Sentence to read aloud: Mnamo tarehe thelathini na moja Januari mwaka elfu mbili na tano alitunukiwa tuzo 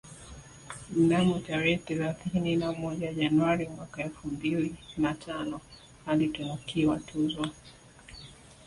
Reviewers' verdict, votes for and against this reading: accepted, 2, 0